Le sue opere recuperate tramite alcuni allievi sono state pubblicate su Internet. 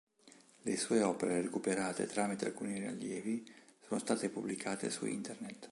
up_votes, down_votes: 1, 2